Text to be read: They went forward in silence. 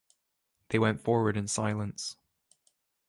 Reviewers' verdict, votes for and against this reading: accepted, 3, 0